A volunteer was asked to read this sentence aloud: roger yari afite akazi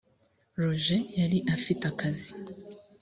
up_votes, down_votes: 2, 0